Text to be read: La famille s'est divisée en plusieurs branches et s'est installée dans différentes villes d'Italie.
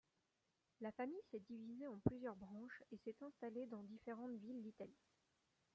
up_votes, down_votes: 1, 2